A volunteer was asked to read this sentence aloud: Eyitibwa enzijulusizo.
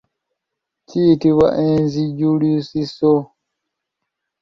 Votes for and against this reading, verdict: 1, 2, rejected